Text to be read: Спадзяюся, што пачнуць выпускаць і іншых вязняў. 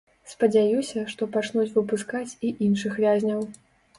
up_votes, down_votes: 3, 0